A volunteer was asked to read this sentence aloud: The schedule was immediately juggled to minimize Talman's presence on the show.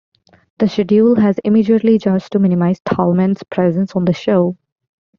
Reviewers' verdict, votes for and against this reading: rejected, 0, 2